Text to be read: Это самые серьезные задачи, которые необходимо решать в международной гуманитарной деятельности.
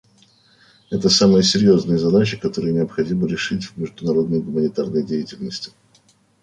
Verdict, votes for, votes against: rejected, 0, 2